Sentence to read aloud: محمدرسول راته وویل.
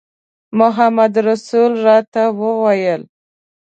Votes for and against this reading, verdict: 2, 0, accepted